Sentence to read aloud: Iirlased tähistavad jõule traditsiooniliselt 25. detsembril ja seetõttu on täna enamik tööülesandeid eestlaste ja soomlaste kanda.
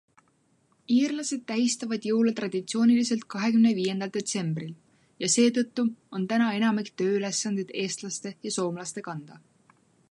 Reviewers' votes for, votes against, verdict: 0, 2, rejected